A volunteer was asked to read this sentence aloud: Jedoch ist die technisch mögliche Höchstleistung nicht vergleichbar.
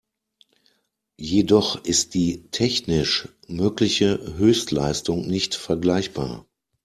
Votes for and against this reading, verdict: 2, 0, accepted